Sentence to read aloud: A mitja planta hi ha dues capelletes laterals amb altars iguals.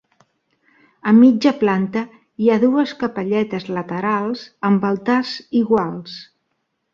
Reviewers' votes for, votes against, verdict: 2, 0, accepted